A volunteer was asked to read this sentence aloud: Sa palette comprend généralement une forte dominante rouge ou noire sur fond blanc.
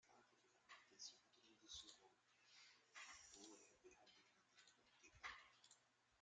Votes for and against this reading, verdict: 0, 2, rejected